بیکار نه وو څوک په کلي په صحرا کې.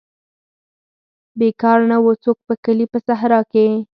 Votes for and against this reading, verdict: 2, 4, rejected